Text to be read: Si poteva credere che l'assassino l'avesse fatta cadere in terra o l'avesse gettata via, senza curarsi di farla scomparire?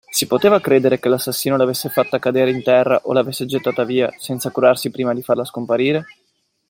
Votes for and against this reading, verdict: 1, 2, rejected